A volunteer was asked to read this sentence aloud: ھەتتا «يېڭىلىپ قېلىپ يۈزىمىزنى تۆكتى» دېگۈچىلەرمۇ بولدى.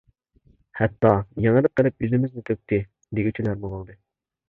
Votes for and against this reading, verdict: 0, 2, rejected